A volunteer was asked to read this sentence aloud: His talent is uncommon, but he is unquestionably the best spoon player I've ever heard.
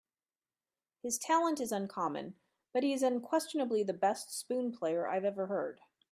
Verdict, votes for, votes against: accepted, 2, 0